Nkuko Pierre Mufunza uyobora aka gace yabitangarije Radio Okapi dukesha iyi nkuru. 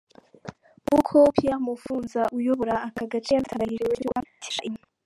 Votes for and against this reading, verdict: 2, 1, accepted